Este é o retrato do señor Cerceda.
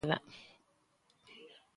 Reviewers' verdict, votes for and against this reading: rejected, 0, 2